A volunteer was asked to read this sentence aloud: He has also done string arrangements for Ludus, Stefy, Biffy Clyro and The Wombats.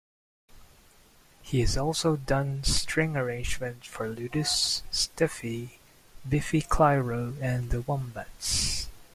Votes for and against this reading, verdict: 2, 0, accepted